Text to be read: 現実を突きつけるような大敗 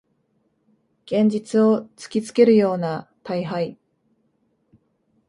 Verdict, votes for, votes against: accepted, 2, 0